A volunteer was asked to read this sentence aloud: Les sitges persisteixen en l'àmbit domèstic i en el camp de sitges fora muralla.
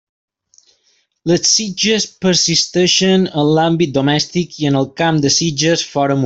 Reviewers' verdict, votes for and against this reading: rejected, 0, 2